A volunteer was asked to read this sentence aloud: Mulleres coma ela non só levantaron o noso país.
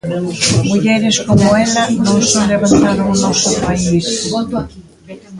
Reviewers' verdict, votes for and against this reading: rejected, 1, 2